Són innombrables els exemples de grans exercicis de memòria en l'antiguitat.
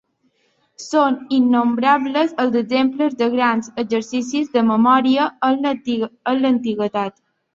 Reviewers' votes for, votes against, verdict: 0, 3, rejected